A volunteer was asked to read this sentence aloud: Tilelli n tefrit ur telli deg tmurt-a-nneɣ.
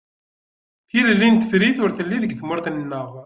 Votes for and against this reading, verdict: 2, 1, accepted